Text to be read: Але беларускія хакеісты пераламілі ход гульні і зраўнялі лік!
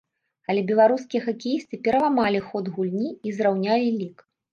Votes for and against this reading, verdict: 1, 2, rejected